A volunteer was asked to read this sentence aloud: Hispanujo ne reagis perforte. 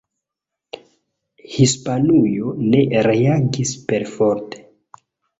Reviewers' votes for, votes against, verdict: 2, 0, accepted